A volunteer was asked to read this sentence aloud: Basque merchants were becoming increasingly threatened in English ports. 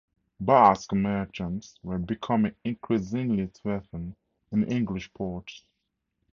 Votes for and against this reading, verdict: 4, 0, accepted